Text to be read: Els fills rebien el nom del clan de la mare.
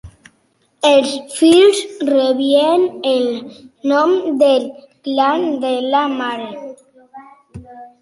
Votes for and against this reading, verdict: 3, 0, accepted